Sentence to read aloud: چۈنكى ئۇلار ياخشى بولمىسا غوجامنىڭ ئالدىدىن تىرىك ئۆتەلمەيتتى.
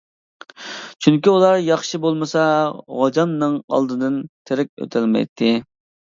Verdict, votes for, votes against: accepted, 2, 0